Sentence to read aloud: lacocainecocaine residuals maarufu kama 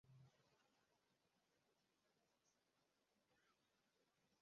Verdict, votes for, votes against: rejected, 0, 2